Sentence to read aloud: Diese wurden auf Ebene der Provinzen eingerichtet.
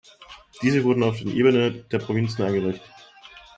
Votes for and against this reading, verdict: 1, 2, rejected